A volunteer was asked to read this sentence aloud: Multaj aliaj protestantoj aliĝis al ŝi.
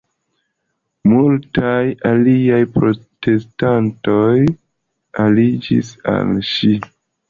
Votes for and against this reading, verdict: 1, 2, rejected